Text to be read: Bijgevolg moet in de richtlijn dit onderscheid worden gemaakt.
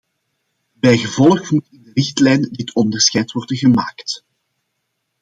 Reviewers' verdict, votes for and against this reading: rejected, 1, 2